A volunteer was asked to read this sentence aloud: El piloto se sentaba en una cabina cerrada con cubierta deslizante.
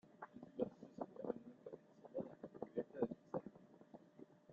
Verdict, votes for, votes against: rejected, 0, 2